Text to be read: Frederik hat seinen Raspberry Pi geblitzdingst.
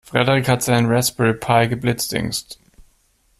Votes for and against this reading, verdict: 2, 0, accepted